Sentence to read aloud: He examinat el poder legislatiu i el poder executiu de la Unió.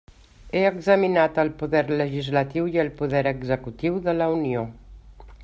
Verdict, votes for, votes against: accepted, 3, 0